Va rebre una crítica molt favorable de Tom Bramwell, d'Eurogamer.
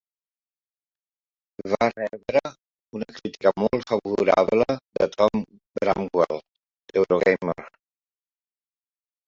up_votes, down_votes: 0, 3